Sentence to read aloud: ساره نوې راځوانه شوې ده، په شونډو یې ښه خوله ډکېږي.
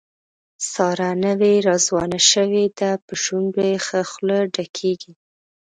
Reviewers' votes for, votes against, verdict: 2, 0, accepted